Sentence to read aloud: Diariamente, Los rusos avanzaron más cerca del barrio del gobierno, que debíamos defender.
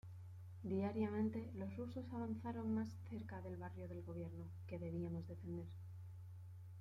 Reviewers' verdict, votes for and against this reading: rejected, 0, 2